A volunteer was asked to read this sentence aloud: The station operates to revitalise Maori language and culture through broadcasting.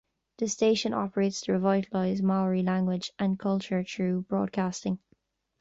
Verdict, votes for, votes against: rejected, 1, 2